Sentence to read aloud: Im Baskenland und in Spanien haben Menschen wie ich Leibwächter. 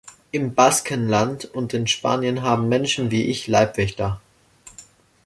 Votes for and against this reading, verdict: 2, 0, accepted